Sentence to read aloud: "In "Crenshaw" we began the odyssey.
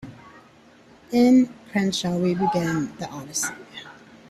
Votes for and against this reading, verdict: 2, 0, accepted